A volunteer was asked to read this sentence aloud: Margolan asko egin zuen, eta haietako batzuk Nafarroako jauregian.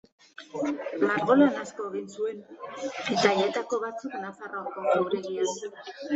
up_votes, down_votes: 1, 2